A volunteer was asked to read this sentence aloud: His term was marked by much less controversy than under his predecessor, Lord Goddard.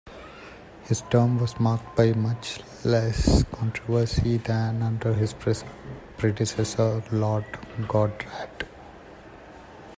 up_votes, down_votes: 0, 2